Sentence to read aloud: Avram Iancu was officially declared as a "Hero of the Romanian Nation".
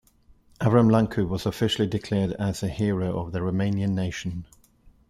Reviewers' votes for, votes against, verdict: 0, 2, rejected